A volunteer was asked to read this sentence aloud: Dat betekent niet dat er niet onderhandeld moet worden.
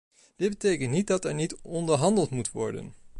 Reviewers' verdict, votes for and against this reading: rejected, 1, 2